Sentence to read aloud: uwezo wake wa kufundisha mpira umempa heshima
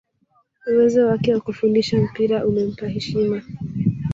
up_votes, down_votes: 0, 2